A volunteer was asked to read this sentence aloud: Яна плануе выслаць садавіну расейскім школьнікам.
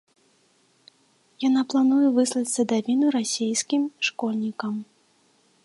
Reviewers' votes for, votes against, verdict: 2, 1, accepted